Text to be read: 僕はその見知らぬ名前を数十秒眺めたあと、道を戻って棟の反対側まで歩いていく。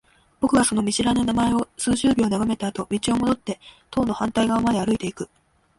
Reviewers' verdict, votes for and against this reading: rejected, 1, 2